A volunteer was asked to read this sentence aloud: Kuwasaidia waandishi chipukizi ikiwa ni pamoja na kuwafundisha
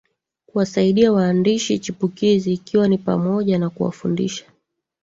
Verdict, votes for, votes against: accepted, 2, 1